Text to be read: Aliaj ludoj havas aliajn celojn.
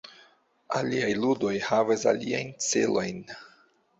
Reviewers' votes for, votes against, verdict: 2, 1, accepted